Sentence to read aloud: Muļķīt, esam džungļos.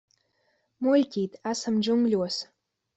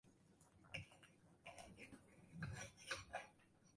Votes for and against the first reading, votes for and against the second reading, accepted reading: 2, 0, 0, 17, first